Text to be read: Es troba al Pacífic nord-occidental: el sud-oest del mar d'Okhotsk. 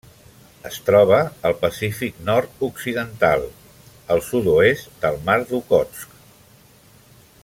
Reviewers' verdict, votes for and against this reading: accepted, 2, 0